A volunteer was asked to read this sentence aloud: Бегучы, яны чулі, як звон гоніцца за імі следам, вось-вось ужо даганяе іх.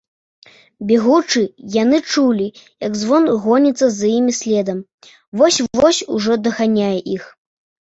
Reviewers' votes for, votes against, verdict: 2, 0, accepted